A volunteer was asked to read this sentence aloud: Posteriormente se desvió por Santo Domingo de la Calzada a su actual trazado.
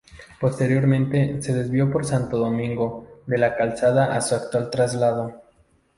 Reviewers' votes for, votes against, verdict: 0, 2, rejected